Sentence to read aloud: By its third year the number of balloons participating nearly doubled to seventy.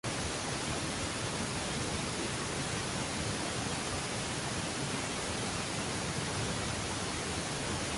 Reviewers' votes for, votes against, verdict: 0, 2, rejected